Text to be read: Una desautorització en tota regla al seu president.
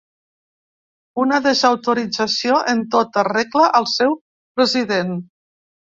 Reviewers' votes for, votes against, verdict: 3, 0, accepted